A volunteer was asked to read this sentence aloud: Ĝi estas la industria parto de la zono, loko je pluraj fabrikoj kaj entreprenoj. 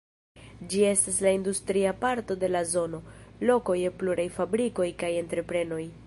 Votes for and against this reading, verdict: 1, 2, rejected